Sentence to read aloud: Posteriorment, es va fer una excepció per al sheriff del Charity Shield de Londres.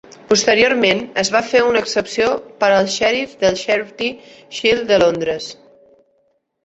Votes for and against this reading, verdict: 0, 2, rejected